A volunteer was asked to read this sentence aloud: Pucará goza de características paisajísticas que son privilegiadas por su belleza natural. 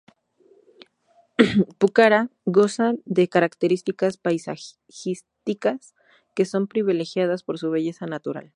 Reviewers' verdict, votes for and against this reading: rejected, 0, 2